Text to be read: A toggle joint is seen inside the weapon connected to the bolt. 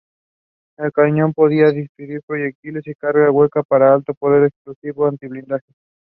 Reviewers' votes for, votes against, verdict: 0, 2, rejected